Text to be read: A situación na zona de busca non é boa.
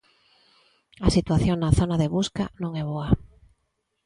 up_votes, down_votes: 2, 0